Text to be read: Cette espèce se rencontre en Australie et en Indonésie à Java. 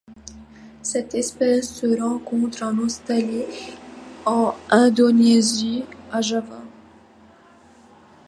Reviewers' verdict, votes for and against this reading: rejected, 0, 2